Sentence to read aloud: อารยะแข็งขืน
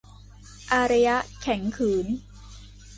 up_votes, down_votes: 2, 0